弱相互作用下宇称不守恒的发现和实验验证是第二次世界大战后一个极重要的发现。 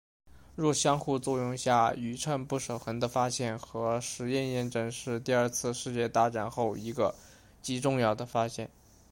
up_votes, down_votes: 2, 0